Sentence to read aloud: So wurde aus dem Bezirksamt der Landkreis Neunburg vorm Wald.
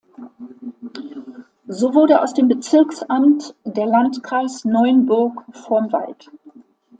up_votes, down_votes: 2, 0